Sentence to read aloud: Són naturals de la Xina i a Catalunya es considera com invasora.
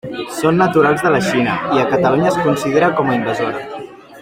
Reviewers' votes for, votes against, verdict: 0, 2, rejected